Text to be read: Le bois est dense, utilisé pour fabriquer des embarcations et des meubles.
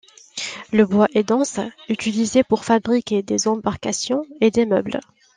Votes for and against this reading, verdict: 0, 2, rejected